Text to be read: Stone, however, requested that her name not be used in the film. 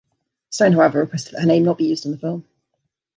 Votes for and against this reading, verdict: 0, 2, rejected